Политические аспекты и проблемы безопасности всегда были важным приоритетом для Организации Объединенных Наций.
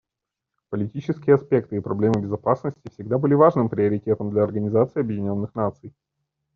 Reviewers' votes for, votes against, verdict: 2, 0, accepted